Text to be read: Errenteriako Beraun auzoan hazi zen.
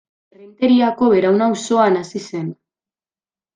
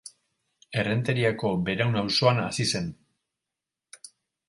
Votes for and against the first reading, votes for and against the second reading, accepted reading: 1, 2, 4, 0, second